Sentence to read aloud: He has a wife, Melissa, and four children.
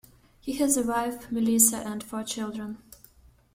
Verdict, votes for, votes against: accepted, 2, 0